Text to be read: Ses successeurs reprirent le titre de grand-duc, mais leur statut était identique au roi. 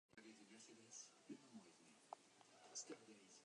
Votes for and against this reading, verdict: 0, 2, rejected